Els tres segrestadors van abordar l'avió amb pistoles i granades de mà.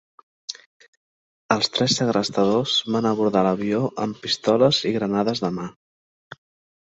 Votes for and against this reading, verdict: 5, 0, accepted